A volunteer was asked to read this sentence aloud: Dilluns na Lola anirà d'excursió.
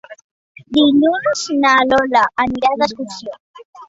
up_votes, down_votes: 3, 1